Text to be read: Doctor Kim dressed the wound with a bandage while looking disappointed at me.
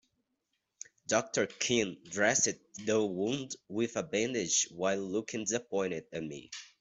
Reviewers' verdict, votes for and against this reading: rejected, 0, 2